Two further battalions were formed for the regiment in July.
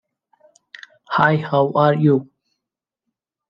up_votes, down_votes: 0, 2